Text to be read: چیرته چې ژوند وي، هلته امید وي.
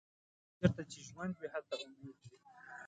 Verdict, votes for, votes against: rejected, 1, 2